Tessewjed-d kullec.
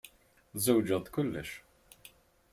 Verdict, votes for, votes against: rejected, 1, 3